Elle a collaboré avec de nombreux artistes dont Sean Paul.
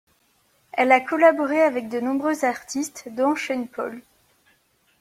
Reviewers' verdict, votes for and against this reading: accepted, 2, 0